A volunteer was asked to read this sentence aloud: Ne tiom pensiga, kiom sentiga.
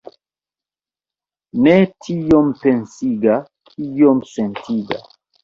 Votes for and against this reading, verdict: 1, 3, rejected